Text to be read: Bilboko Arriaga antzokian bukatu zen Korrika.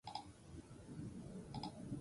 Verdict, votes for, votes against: rejected, 0, 2